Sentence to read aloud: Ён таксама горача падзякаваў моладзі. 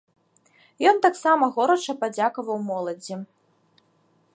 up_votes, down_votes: 2, 0